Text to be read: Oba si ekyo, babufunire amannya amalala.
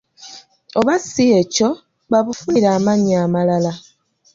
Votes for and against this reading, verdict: 2, 1, accepted